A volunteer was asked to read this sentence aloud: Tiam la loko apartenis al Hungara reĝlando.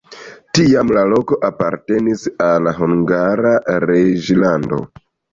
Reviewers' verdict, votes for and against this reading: rejected, 1, 2